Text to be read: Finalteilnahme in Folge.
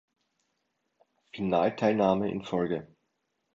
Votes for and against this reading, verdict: 2, 0, accepted